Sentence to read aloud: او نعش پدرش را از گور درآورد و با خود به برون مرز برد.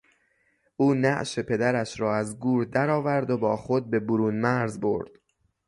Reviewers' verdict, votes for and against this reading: rejected, 0, 3